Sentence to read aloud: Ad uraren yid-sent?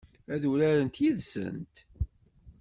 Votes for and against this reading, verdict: 1, 2, rejected